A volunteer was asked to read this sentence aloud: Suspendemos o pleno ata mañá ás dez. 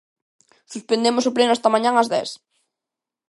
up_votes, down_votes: 0, 2